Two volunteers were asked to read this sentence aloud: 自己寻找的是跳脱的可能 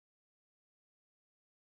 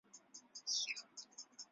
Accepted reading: first